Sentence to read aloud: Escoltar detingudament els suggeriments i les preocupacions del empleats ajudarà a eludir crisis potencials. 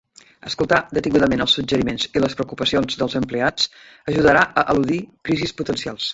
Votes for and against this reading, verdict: 0, 2, rejected